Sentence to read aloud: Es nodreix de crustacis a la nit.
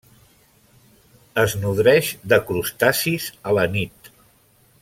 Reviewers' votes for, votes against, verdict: 3, 0, accepted